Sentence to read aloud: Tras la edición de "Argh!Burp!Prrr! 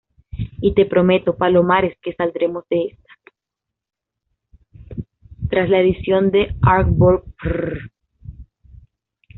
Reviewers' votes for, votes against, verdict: 1, 2, rejected